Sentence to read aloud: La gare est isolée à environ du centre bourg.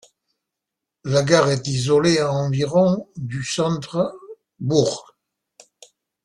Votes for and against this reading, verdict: 1, 2, rejected